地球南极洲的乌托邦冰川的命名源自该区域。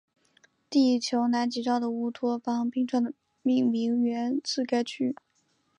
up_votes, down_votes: 2, 1